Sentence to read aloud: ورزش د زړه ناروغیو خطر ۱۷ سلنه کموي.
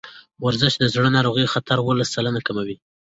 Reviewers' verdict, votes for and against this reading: rejected, 0, 2